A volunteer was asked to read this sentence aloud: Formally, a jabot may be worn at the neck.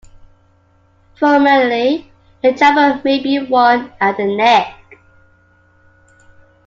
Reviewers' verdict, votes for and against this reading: accepted, 2, 0